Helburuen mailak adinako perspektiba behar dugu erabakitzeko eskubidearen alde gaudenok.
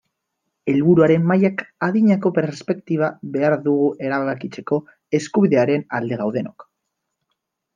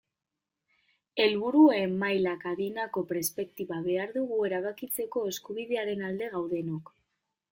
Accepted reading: second